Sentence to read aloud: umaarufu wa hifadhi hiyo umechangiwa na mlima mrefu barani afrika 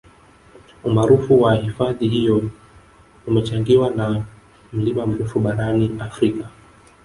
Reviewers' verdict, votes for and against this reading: rejected, 0, 2